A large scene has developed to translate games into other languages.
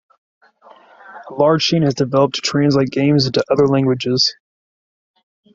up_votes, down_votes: 2, 0